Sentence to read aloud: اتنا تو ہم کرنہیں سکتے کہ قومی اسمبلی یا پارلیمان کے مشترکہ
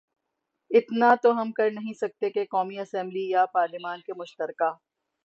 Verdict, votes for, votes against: accepted, 21, 3